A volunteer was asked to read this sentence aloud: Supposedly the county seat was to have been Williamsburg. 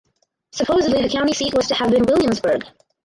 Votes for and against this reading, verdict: 0, 4, rejected